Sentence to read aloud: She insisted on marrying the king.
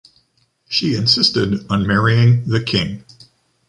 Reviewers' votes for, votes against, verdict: 2, 0, accepted